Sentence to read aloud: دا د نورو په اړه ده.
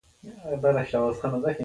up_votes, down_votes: 0, 2